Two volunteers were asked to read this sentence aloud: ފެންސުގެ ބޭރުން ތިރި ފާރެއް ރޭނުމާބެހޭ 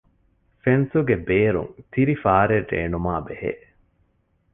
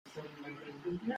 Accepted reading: first